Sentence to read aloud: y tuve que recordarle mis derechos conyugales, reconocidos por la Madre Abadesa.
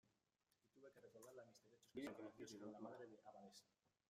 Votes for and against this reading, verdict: 0, 2, rejected